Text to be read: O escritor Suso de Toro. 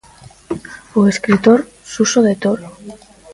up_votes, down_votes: 0, 2